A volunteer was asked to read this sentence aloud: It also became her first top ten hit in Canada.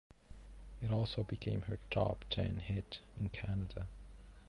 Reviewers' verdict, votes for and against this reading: rejected, 0, 2